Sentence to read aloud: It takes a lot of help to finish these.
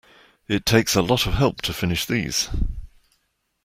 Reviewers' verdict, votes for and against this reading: accepted, 2, 0